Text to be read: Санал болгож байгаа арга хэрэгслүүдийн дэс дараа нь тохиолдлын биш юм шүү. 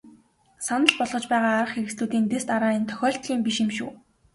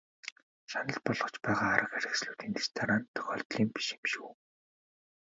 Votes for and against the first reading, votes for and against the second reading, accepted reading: 3, 0, 1, 2, first